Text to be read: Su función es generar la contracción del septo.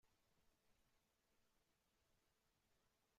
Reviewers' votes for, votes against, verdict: 0, 2, rejected